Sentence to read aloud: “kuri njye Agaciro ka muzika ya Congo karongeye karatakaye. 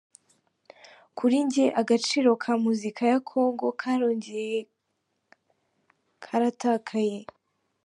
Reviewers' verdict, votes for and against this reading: rejected, 0, 3